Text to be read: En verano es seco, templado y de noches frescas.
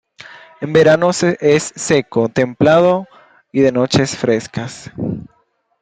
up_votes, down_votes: 1, 2